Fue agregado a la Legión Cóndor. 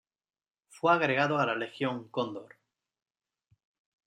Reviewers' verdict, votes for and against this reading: accepted, 2, 0